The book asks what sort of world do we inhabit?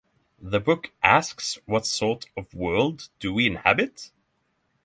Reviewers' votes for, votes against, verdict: 6, 0, accepted